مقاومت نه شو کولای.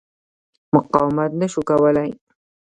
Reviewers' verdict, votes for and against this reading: rejected, 1, 2